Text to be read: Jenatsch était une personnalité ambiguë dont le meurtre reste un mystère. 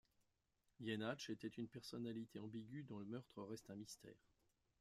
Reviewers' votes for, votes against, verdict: 1, 2, rejected